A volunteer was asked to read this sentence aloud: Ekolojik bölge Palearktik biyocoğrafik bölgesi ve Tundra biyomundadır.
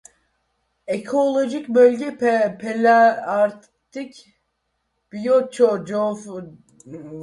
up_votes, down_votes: 0, 2